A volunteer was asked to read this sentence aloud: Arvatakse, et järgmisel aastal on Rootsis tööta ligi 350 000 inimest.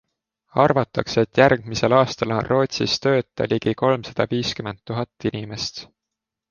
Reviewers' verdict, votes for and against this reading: rejected, 0, 2